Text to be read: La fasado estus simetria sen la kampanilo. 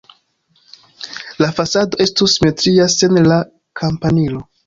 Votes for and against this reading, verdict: 0, 2, rejected